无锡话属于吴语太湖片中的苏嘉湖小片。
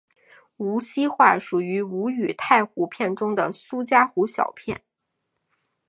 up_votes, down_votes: 2, 0